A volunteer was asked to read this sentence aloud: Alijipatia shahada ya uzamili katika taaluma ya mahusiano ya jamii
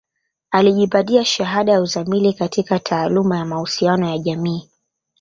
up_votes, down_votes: 3, 0